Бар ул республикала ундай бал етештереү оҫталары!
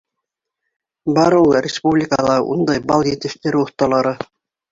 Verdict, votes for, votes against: accepted, 2, 1